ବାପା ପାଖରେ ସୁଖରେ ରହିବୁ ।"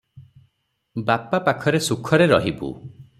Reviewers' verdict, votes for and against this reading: rejected, 0, 3